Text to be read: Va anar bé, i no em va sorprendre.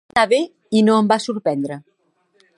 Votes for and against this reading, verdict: 0, 2, rejected